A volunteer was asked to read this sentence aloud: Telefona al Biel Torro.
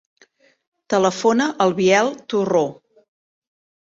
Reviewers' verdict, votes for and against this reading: rejected, 1, 2